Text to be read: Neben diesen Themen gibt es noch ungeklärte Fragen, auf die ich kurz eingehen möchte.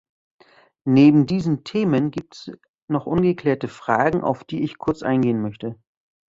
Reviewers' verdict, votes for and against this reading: rejected, 1, 2